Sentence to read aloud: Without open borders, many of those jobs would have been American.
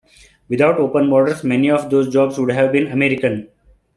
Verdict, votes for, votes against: accepted, 2, 1